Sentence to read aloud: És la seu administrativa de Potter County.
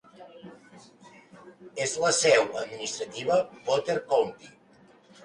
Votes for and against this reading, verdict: 2, 0, accepted